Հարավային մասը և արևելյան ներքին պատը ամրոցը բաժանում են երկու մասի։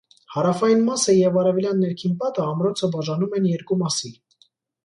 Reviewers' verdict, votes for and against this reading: accepted, 2, 0